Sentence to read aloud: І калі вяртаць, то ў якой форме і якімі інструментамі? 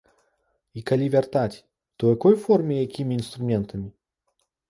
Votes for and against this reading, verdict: 2, 0, accepted